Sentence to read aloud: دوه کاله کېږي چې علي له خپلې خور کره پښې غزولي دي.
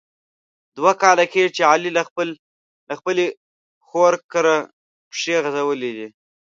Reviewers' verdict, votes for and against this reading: rejected, 1, 2